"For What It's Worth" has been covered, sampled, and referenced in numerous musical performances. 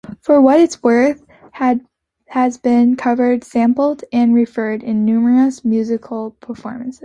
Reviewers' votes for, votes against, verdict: 0, 2, rejected